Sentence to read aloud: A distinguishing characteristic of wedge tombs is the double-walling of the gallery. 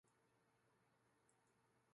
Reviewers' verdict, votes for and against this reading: rejected, 0, 2